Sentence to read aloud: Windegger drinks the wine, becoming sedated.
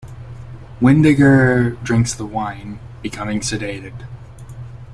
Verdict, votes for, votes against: accepted, 2, 0